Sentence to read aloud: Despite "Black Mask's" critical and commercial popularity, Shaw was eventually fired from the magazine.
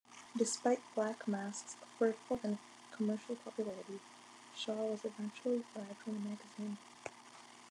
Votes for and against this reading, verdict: 2, 1, accepted